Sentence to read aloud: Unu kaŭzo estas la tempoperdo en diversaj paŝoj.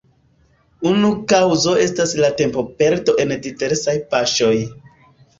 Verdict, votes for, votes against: accepted, 2, 1